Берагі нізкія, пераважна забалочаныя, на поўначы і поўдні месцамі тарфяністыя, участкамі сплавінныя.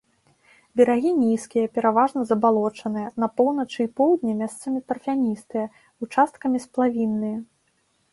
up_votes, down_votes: 2, 0